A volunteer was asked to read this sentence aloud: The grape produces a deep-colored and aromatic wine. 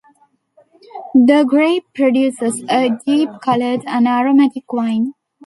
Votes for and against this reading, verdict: 2, 0, accepted